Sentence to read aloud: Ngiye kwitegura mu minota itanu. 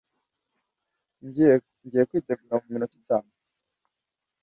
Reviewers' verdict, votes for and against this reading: rejected, 0, 2